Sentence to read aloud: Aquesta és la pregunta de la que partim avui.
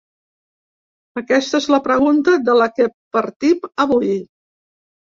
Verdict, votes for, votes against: rejected, 0, 3